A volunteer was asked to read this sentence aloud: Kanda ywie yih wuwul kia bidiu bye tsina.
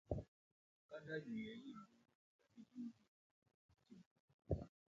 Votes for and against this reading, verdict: 0, 2, rejected